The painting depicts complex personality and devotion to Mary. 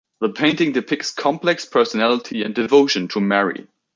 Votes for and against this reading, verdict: 2, 0, accepted